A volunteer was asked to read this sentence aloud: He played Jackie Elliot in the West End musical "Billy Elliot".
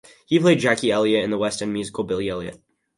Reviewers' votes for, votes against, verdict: 2, 0, accepted